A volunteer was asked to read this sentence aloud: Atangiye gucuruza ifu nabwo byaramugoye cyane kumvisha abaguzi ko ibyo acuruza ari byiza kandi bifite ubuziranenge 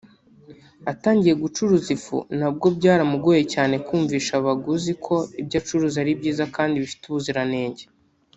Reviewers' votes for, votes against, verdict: 0, 2, rejected